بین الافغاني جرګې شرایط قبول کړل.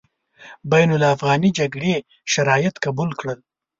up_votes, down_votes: 0, 2